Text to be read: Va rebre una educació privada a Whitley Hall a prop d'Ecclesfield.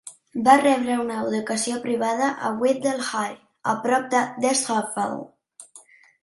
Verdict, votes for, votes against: accepted, 3, 2